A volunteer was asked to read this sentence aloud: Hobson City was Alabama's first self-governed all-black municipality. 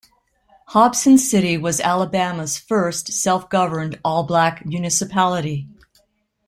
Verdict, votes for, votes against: accepted, 2, 0